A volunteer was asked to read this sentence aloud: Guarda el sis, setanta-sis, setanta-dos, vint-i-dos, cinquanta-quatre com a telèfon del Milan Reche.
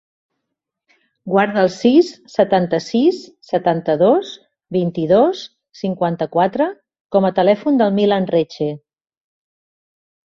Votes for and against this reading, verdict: 4, 0, accepted